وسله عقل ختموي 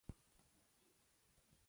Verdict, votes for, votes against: rejected, 1, 2